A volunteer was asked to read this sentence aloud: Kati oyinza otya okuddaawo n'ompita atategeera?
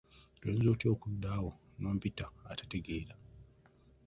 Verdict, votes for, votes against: rejected, 1, 2